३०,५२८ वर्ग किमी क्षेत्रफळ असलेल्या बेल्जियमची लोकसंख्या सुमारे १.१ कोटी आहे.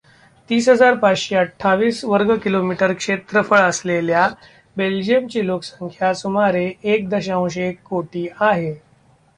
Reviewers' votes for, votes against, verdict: 0, 2, rejected